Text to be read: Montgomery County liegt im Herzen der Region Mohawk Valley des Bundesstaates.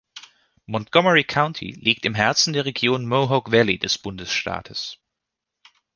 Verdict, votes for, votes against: accepted, 2, 0